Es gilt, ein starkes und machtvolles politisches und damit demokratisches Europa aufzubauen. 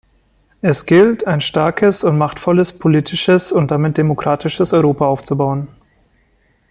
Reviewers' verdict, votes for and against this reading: accepted, 2, 0